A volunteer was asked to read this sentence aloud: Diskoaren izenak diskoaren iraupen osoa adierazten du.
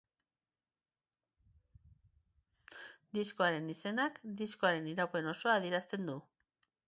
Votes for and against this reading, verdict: 3, 0, accepted